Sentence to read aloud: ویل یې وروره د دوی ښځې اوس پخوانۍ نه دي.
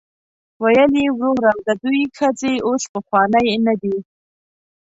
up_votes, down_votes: 1, 2